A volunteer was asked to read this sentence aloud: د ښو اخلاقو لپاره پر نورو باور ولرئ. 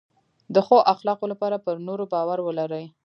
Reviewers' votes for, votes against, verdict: 1, 2, rejected